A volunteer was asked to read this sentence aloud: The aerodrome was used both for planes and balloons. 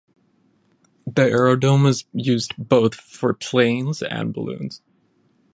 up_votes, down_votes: 0, 10